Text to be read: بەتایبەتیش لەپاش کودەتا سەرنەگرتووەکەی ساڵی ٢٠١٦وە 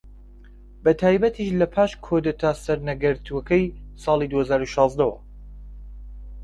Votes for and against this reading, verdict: 0, 2, rejected